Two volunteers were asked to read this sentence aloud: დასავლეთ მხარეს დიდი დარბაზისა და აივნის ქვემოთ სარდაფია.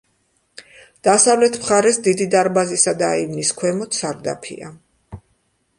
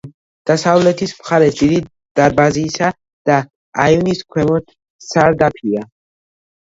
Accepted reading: first